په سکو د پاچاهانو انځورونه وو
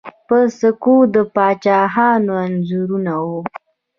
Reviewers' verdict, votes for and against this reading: rejected, 1, 2